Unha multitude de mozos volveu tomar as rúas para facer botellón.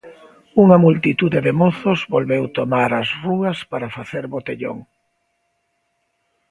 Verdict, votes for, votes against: accepted, 3, 0